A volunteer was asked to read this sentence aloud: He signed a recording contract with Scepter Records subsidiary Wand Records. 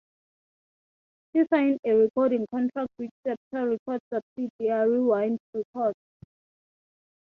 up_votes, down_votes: 0, 3